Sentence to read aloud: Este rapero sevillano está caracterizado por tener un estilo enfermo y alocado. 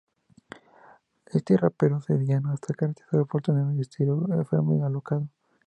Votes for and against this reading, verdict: 0, 2, rejected